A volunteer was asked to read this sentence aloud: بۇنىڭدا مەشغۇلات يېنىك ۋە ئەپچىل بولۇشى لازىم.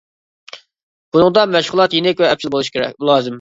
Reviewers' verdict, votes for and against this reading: rejected, 0, 2